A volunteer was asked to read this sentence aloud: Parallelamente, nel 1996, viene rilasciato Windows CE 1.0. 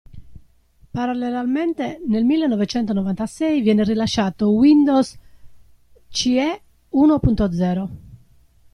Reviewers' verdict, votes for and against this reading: rejected, 0, 2